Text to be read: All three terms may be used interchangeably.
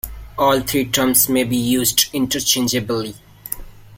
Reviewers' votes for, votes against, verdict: 0, 2, rejected